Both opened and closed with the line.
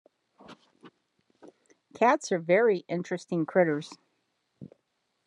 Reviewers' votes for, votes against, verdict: 0, 2, rejected